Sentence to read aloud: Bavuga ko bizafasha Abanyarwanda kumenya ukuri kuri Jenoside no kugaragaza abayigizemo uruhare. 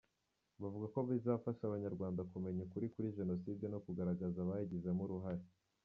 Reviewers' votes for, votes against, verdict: 2, 0, accepted